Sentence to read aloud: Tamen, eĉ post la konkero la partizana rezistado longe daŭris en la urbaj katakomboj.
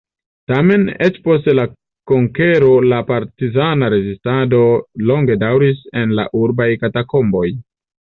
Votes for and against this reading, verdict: 2, 0, accepted